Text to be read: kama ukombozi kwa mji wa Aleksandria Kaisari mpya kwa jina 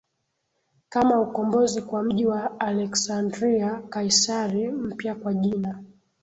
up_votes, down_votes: 8, 0